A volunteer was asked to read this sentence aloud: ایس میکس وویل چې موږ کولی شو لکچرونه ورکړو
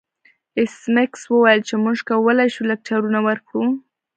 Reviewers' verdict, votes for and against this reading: rejected, 0, 2